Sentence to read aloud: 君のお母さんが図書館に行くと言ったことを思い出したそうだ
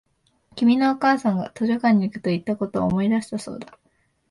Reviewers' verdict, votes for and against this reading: accepted, 2, 0